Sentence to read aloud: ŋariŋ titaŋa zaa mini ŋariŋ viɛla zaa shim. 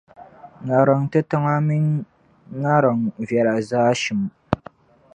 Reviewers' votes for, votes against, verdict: 1, 2, rejected